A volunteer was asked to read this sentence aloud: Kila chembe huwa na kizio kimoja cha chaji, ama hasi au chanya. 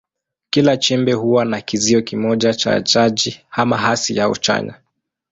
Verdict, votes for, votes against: accepted, 2, 0